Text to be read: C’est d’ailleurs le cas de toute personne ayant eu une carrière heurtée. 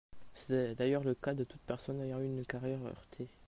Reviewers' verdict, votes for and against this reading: accepted, 2, 0